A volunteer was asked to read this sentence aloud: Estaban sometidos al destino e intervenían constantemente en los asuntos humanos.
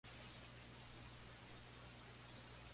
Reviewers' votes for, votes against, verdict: 0, 4, rejected